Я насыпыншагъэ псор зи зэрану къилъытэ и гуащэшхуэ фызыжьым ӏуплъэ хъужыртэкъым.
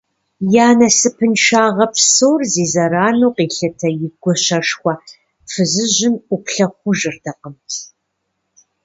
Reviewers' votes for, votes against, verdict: 2, 0, accepted